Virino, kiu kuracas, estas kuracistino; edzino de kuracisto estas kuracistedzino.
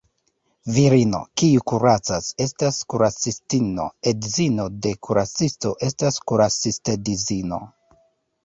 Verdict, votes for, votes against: rejected, 1, 2